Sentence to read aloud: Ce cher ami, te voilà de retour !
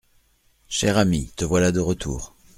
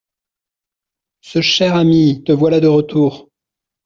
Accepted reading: second